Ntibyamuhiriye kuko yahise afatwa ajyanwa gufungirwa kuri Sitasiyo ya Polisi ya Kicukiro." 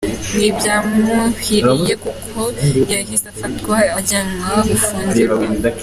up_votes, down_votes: 0, 2